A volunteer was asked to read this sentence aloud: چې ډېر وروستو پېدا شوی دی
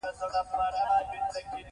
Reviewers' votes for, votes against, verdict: 0, 2, rejected